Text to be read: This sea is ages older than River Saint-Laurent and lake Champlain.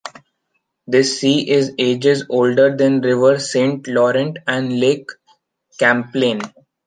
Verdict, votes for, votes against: rejected, 1, 2